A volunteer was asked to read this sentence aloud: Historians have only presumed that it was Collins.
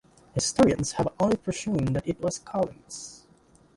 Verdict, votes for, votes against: rejected, 1, 2